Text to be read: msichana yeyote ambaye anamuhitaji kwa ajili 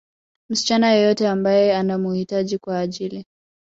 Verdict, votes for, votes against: accepted, 2, 1